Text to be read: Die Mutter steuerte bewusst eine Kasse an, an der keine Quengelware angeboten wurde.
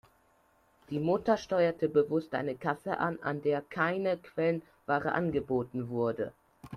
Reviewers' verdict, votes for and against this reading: rejected, 1, 2